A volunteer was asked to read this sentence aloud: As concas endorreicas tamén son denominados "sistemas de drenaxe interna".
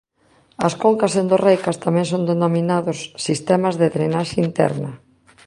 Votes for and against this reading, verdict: 3, 0, accepted